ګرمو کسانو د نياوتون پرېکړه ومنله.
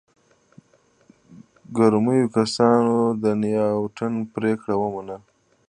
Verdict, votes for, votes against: rejected, 0, 2